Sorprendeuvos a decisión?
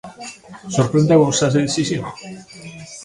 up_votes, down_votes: 0, 2